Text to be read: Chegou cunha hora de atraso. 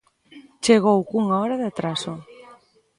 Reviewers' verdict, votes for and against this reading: accepted, 2, 0